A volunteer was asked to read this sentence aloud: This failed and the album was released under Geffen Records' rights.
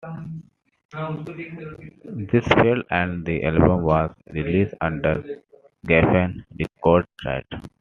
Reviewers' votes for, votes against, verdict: 1, 2, rejected